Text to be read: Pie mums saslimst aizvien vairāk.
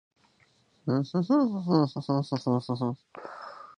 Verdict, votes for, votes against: rejected, 0, 2